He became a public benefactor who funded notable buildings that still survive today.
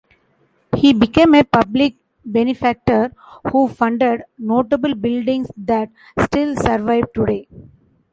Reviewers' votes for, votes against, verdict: 1, 2, rejected